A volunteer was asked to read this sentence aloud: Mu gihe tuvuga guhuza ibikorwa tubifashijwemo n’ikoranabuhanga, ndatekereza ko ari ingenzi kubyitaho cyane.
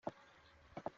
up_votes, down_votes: 0, 3